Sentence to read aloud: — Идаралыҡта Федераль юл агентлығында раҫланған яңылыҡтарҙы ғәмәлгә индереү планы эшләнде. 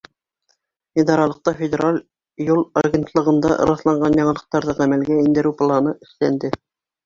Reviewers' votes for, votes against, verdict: 1, 2, rejected